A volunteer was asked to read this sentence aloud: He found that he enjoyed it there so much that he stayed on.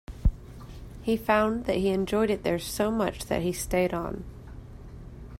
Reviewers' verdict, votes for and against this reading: accepted, 2, 1